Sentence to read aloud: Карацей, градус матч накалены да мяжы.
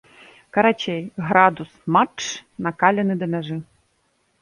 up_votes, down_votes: 2, 0